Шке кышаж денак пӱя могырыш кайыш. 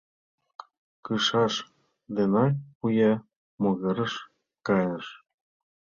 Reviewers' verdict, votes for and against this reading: rejected, 0, 2